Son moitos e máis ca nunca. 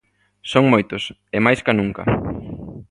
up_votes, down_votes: 2, 0